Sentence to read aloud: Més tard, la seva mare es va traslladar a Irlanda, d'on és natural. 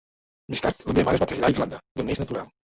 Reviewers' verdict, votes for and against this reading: rejected, 0, 3